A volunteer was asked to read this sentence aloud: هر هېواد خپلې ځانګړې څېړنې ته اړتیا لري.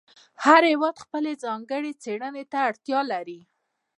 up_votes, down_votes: 0, 2